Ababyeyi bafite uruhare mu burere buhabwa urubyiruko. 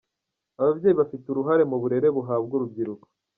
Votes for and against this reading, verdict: 1, 2, rejected